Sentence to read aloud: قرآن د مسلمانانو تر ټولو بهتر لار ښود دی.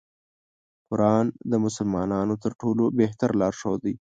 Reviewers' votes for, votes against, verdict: 1, 2, rejected